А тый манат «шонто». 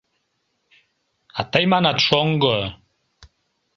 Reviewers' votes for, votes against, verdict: 0, 2, rejected